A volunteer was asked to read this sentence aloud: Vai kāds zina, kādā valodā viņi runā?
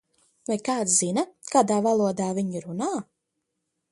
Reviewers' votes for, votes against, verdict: 2, 0, accepted